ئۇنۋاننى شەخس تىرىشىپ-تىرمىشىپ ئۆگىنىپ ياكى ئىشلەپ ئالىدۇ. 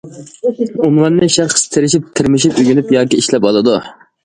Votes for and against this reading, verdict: 2, 0, accepted